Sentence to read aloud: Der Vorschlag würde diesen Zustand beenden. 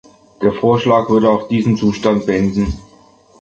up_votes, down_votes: 0, 3